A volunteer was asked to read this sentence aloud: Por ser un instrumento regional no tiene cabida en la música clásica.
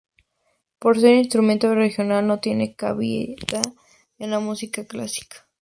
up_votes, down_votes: 2, 0